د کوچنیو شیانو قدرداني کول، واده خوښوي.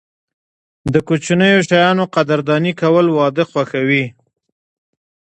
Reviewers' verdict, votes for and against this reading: accepted, 2, 0